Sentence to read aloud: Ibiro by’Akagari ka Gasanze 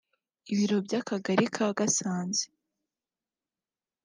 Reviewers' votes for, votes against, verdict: 2, 0, accepted